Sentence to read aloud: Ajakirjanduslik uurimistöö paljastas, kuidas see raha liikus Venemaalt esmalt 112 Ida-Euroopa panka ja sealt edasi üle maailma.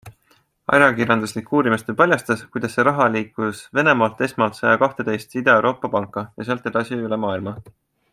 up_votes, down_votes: 0, 2